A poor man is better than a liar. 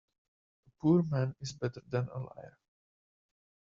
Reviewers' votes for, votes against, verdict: 0, 2, rejected